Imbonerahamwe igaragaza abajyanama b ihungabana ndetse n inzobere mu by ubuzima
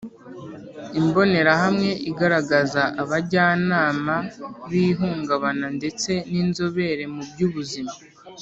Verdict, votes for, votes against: accepted, 4, 0